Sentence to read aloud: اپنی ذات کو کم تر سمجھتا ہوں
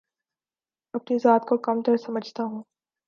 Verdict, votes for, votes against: accepted, 2, 0